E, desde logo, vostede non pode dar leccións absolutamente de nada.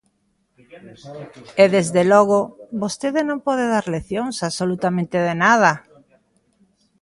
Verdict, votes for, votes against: accepted, 2, 0